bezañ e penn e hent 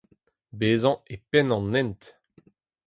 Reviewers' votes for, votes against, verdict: 0, 4, rejected